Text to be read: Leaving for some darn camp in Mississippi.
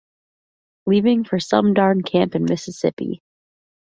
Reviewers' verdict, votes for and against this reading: accepted, 2, 0